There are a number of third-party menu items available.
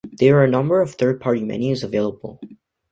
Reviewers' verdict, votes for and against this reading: rejected, 1, 2